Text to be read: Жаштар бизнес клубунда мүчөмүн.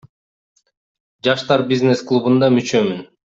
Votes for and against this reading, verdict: 2, 0, accepted